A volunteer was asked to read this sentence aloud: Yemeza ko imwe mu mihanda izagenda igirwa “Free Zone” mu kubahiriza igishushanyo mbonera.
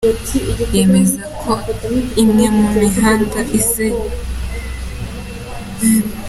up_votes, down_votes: 0, 2